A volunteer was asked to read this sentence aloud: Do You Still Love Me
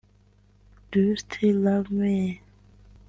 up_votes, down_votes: 1, 2